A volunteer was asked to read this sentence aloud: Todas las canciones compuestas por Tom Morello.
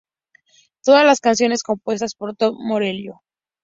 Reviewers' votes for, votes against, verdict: 0, 2, rejected